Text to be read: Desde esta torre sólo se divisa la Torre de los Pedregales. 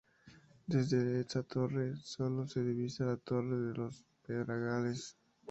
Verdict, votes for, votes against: accepted, 2, 0